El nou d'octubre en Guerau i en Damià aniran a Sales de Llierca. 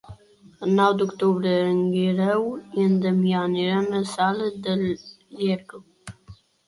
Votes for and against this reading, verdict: 0, 2, rejected